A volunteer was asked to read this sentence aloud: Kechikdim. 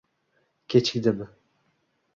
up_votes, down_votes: 2, 0